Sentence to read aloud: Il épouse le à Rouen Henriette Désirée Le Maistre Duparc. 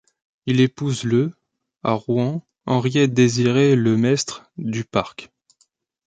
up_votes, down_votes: 2, 1